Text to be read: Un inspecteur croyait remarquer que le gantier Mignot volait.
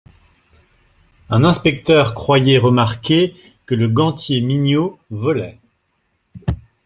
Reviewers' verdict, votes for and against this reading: accepted, 2, 0